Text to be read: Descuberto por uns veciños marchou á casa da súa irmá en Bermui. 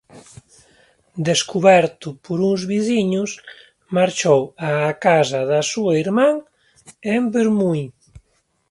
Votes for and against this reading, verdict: 0, 2, rejected